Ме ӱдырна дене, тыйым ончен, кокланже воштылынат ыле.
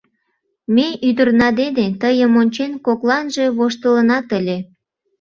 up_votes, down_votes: 2, 0